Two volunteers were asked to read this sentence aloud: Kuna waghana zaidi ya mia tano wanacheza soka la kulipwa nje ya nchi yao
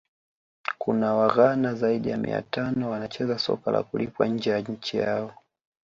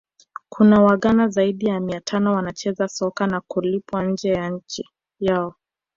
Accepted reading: first